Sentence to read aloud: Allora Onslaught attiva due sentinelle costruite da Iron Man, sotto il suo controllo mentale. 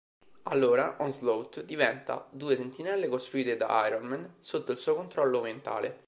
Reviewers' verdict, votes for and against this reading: rejected, 0, 2